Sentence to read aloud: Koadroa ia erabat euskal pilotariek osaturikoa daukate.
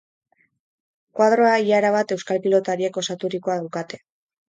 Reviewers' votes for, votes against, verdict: 4, 0, accepted